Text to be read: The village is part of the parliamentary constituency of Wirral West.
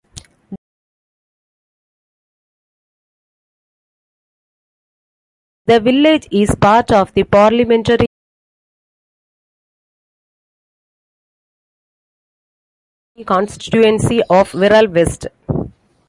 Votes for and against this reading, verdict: 0, 2, rejected